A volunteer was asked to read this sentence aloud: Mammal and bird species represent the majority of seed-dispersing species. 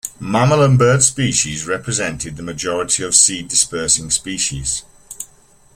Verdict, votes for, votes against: rejected, 1, 2